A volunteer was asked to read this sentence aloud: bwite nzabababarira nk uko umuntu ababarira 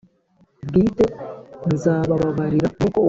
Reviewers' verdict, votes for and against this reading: rejected, 0, 2